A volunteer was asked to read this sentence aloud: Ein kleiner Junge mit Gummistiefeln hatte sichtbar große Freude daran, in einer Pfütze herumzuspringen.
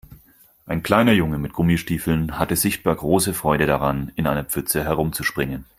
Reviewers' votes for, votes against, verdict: 4, 0, accepted